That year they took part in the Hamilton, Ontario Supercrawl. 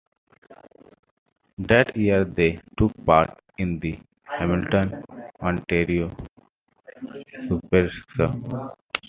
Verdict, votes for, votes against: rejected, 1, 2